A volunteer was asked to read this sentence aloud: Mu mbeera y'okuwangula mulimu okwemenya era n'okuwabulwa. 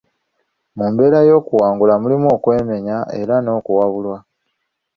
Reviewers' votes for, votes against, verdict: 2, 1, accepted